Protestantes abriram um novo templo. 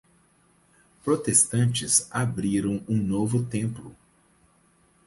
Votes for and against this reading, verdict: 4, 0, accepted